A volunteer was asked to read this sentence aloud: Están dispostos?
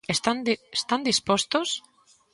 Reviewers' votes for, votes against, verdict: 1, 2, rejected